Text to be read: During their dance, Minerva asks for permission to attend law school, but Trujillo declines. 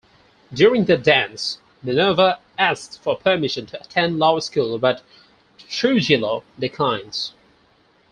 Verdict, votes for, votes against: accepted, 4, 0